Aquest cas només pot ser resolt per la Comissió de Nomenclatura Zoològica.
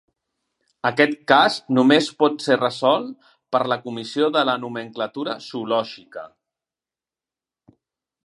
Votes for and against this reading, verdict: 1, 2, rejected